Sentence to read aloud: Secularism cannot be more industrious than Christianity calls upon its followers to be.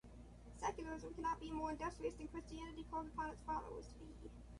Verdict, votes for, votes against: rejected, 0, 2